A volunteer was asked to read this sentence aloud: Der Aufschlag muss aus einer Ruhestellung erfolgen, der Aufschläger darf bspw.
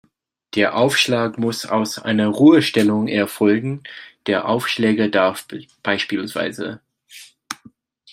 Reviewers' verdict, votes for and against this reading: rejected, 1, 2